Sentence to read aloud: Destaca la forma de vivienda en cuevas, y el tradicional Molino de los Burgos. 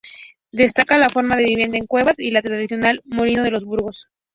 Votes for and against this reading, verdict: 0, 2, rejected